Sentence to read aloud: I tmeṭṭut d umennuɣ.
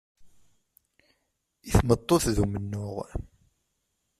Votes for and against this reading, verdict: 0, 2, rejected